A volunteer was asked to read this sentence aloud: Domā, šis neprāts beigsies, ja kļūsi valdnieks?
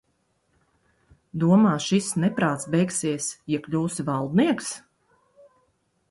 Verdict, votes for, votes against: accepted, 2, 0